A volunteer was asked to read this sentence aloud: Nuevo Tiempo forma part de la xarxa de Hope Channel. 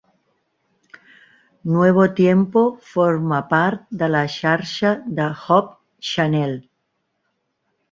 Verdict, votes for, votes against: accepted, 3, 1